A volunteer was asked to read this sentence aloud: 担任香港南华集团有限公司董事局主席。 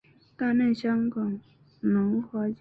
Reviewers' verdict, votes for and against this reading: rejected, 0, 3